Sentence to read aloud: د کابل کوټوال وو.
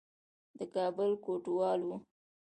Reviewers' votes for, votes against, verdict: 2, 0, accepted